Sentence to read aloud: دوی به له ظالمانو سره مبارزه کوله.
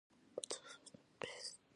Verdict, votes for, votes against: rejected, 1, 2